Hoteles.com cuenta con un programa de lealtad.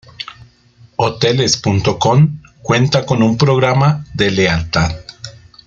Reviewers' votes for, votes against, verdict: 3, 0, accepted